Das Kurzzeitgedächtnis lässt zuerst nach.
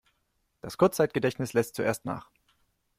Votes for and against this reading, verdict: 2, 0, accepted